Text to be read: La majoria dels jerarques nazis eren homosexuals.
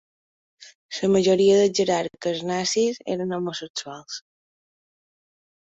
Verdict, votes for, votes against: rejected, 0, 2